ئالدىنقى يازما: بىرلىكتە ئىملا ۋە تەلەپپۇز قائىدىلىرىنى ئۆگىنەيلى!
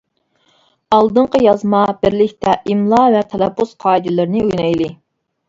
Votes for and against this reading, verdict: 2, 0, accepted